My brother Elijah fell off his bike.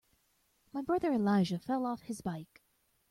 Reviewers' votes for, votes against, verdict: 2, 0, accepted